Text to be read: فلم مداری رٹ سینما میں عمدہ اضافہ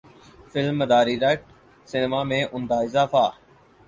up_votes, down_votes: 4, 0